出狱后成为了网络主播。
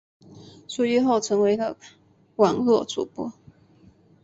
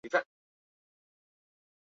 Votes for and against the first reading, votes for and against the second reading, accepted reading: 3, 0, 0, 3, first